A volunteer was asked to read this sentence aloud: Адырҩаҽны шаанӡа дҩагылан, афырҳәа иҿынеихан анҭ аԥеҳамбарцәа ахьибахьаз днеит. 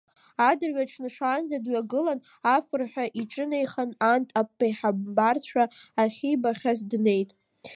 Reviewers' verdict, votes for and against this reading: rejected, 1, 2